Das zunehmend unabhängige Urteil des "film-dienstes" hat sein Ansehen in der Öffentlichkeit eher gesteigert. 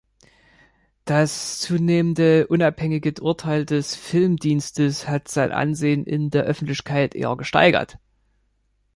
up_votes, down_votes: 1, 4